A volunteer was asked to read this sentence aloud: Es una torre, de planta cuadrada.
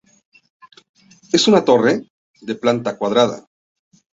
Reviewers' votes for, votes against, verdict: 2, 0, accepted